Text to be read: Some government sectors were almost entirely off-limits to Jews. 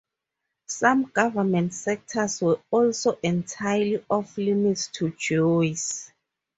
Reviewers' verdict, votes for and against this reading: rejected, 0, 4